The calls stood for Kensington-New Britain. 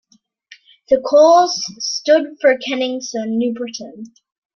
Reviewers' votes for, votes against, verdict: 0, 2, rejected